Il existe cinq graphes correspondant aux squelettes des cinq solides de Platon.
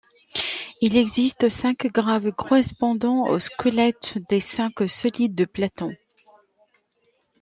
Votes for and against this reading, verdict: 1, 2, rejected